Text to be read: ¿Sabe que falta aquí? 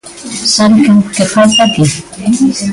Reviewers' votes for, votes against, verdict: 0, 2, rejected